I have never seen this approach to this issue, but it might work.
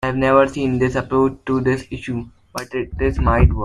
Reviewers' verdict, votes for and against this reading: rejected, 1, 2